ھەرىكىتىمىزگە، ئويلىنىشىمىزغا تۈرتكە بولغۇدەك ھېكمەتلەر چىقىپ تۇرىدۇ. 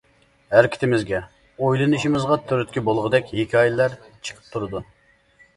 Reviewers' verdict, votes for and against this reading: rejected, 0, 2